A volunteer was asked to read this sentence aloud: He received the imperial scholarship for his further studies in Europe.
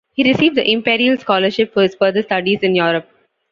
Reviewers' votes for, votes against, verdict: 2, 0, accepted